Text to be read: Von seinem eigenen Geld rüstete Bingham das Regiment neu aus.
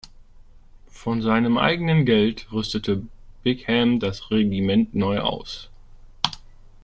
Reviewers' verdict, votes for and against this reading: accepted, 2, 1